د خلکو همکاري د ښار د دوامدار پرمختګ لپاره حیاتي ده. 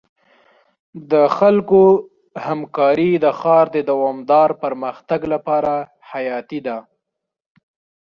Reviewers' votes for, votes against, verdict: 2, 0, accepted